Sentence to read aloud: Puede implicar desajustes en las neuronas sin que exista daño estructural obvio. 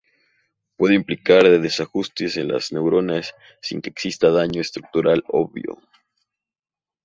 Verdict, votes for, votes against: rejected, 0, 2